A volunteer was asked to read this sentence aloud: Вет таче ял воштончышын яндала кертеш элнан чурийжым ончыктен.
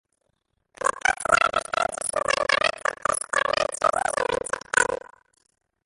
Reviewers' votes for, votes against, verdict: 0, 2, rejected